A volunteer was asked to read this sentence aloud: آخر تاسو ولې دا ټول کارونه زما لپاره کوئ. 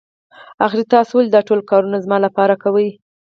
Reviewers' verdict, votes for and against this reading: accepted, 4, 0